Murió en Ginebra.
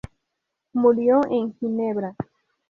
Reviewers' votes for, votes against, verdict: 2, 0, accepted